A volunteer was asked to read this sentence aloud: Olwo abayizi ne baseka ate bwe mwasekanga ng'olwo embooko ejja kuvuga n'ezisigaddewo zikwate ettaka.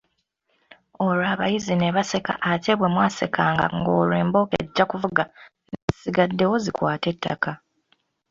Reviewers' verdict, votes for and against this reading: accepted, 2, 0